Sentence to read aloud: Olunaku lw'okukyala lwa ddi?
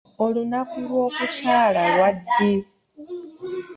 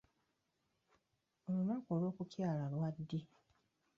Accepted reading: first